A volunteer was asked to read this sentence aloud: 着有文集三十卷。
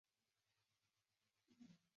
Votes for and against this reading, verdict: 0, 4, rejected